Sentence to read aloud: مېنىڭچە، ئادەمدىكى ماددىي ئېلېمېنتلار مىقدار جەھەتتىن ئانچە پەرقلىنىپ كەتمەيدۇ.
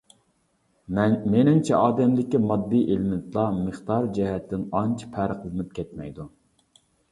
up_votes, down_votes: 1, 2